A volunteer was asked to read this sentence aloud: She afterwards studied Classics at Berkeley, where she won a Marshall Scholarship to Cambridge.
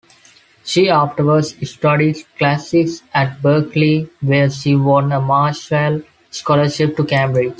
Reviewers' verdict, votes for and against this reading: accepted, 2, 1